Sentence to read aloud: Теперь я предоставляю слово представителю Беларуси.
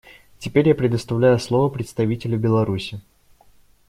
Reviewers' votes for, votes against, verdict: 2, 0, accepted